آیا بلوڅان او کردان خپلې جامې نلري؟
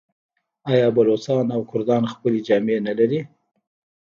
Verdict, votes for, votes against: rejected, 1, 2